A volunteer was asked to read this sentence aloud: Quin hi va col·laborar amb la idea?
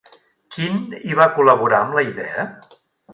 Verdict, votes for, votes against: rejected, 0, 2